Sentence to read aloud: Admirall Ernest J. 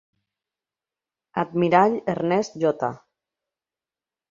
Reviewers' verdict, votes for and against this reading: accepted, 3, 0